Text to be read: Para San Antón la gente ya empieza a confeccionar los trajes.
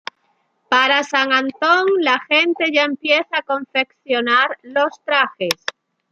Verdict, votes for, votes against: rejected, 1, 2